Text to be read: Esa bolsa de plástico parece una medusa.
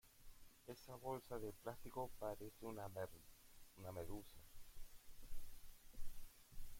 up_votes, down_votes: 0, 2